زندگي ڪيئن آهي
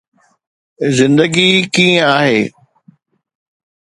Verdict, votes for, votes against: accepted, 2, 0